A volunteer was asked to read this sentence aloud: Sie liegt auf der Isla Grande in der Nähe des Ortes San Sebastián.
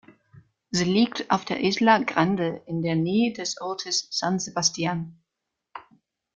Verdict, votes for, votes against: accepted, 2, 0